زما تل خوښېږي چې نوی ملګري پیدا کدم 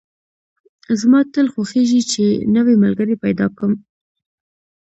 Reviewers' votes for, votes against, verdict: 2, 0, accepted